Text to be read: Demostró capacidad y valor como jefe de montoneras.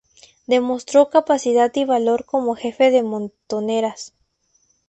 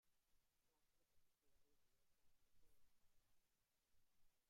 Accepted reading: first